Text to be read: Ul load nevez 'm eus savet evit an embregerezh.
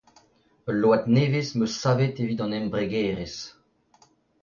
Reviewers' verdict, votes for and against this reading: accepted, 2, 0